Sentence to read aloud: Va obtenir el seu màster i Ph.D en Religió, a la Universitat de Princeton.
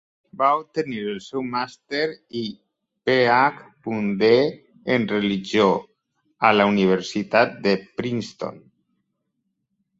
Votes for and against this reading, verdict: 2, 0, accepted